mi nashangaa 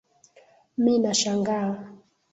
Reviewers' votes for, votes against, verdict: 2, 0, accepted